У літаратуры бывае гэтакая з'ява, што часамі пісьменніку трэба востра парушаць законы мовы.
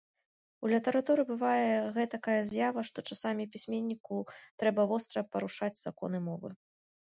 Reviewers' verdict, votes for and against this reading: accepted, 2, 0